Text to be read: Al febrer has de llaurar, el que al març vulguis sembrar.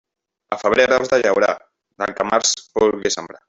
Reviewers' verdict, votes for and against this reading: rejected, 1, 2